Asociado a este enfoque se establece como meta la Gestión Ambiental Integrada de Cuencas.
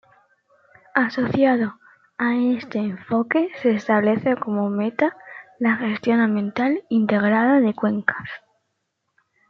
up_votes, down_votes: 2, 1